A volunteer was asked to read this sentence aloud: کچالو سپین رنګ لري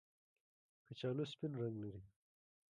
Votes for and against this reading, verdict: 0, 2, rejected